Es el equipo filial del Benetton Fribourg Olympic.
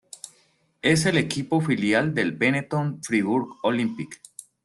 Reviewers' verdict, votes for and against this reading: accepted, 2, 0